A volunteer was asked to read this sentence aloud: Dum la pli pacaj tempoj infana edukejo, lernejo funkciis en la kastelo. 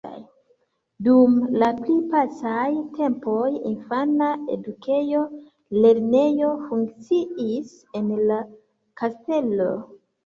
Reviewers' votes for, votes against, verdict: 0, 2, rejected